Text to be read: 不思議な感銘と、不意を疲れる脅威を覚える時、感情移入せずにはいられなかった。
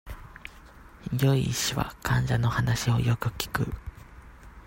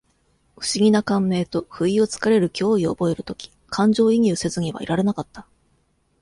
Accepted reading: second